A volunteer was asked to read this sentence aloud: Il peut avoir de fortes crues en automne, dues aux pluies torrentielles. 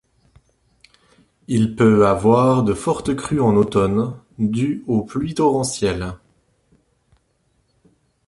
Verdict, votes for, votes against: accepted, 2, 0